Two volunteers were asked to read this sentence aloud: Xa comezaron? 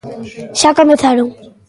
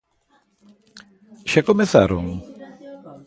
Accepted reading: second